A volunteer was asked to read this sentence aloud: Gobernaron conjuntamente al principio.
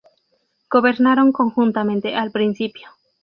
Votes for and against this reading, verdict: 4, 0, accepted